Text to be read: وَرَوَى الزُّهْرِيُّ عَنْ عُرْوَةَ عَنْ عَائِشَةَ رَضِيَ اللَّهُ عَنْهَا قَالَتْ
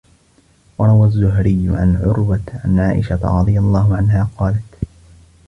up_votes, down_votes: 2, 0